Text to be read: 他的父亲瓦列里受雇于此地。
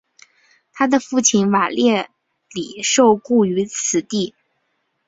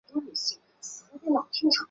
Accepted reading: first